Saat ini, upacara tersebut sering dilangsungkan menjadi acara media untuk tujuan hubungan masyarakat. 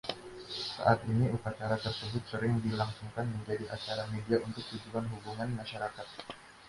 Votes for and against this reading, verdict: 2, 0, accepted